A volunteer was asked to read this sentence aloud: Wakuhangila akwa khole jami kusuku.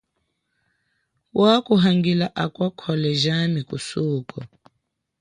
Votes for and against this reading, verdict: 0, 2, rejected